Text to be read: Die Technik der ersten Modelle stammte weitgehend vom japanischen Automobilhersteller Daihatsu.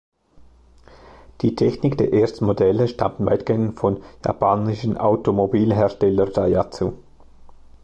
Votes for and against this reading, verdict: 1, 2, rejected